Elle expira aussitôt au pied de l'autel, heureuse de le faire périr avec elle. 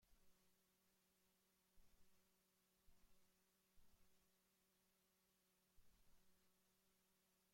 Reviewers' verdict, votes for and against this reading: rejected, 0, 2